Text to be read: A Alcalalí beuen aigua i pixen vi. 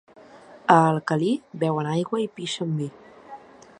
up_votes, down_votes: 1, 2